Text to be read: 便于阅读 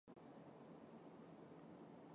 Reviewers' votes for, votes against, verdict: 0, 3, rejected